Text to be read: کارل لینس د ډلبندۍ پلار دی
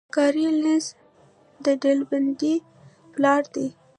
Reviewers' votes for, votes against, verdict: 0, 2, rejected